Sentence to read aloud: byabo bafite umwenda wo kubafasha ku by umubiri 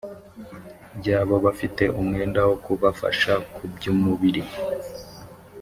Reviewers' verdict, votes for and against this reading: accepted, 2, 0